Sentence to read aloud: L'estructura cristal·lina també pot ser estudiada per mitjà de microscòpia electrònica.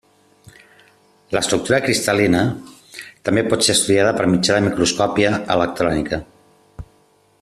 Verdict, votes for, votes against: accepted, 2, 0